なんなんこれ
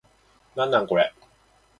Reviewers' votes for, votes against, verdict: 2, 0, accepted